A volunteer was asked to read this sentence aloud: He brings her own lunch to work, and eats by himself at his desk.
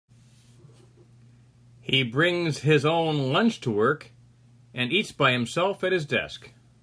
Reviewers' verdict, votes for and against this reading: rejected, 2, 6